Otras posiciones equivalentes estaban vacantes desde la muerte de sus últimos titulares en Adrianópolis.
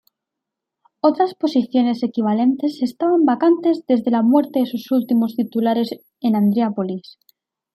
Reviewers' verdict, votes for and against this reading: rejected, 0, 2